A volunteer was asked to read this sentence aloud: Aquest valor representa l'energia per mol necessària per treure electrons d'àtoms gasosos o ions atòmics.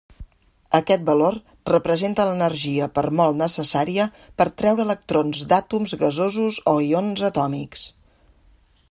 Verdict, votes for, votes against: accepted, 2, 0